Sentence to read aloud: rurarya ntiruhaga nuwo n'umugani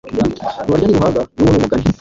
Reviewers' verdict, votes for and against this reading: rejected, 1, 2